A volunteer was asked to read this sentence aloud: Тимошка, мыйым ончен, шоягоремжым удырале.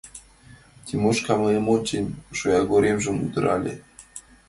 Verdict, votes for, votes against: accepted, 2, 0